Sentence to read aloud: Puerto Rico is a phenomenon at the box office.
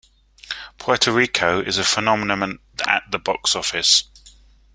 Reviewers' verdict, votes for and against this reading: rejected, 0, 3